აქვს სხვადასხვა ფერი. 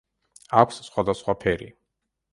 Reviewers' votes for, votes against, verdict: 2, 0, accepted